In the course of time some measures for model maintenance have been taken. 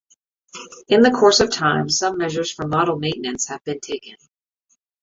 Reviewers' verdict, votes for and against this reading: accepted, 2, 0